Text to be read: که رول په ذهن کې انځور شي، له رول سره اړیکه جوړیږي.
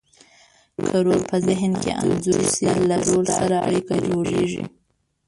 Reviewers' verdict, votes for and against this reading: rejected, 0, 2